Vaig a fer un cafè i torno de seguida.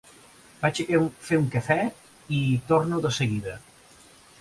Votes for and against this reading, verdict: 1, 2, rejected